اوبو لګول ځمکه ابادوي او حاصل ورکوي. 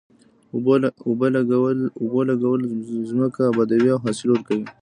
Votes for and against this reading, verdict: 1, 2, rejected